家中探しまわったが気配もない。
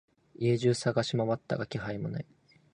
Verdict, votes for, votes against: accepted, 21, 4